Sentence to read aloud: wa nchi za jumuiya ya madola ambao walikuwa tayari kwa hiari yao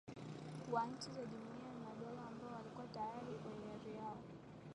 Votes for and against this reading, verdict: 4, 3, accepted